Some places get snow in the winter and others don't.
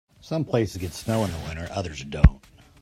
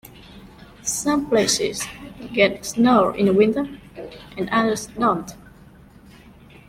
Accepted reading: second